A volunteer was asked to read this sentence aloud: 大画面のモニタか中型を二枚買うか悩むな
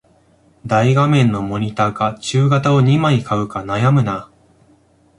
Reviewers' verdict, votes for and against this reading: accepted, 2, 1